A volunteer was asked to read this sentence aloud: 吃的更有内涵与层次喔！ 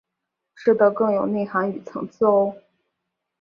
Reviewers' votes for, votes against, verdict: 2, 0, accepted